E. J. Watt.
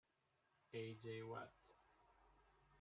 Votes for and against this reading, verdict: 0, 2, rejected